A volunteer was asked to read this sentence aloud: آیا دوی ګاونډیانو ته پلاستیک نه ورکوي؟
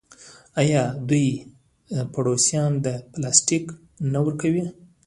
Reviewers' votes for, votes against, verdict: 1, 2, rejected